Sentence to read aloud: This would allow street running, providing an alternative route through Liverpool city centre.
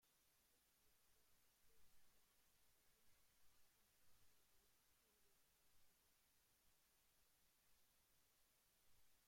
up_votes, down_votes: 0, 2